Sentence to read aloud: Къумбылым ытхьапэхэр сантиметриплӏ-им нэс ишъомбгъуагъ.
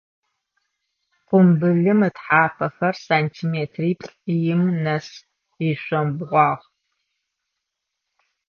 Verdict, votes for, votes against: accepted, 2, 0